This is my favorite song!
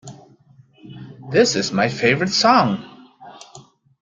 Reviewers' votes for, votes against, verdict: 2, 0, accepted